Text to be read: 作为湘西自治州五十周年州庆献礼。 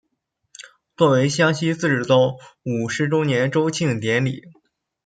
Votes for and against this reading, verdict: 0, 2, rejected